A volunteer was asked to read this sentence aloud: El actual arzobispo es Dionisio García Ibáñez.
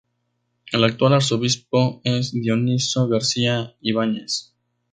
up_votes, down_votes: 2, 2